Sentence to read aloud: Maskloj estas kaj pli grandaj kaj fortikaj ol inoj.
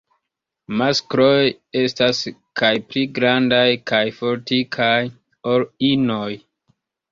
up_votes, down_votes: 0, 2